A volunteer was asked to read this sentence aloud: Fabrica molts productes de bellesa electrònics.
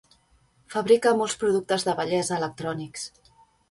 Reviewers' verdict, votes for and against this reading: accepted, 3, 0